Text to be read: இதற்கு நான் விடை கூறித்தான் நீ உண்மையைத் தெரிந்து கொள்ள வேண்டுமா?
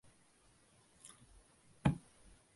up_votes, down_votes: 0, 2